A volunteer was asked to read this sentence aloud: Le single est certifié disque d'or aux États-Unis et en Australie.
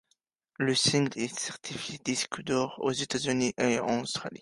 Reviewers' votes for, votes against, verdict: 2, 1, accepted